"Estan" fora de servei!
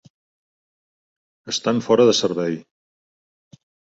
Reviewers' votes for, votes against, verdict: 2, 0, accepted